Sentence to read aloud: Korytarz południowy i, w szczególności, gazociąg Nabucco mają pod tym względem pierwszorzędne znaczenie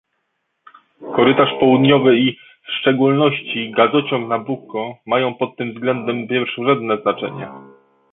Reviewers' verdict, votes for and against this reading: rejected, 0, 2